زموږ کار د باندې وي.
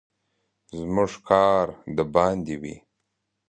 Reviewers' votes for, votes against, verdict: 2, 0, accepted